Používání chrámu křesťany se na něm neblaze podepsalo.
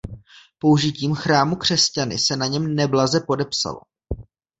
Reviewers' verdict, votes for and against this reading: rejected, 0, 2